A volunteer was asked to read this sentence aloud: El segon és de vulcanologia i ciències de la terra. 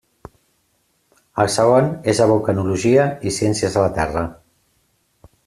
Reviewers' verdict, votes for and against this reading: accepted, 2, 0